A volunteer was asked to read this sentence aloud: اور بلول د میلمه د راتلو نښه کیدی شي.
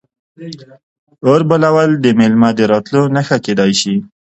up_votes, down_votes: 0, 2